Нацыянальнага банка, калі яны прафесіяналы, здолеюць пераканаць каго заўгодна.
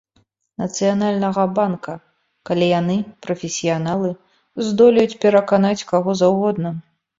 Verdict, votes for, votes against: accepted, 2, 0